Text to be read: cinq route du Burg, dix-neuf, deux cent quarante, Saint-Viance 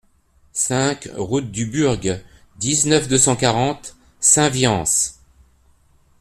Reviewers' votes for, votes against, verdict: 2, 0, accepted